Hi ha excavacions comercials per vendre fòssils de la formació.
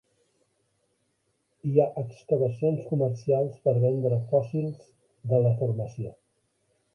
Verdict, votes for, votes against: rejected, 1, 3